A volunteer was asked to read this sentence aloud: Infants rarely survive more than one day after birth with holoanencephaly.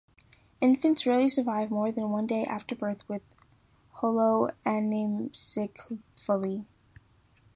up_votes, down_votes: 0, 2